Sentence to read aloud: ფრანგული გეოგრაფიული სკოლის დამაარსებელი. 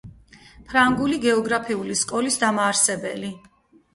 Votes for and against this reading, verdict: 4, 2, accepted